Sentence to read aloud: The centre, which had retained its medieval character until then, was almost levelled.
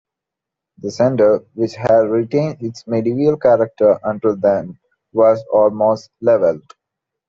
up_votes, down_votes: 2, 1